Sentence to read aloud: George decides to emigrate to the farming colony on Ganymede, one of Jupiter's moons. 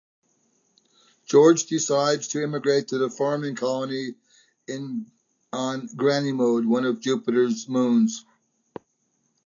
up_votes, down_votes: 0, 2